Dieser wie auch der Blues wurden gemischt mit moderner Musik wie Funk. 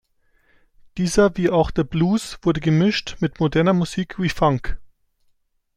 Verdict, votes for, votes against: rejected, 1, 2